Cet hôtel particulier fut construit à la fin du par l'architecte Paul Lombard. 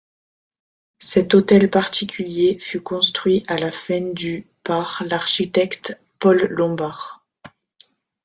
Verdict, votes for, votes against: rejected, 0, 3